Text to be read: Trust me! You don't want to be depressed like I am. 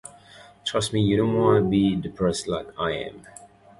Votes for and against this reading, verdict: 0, 2, rejected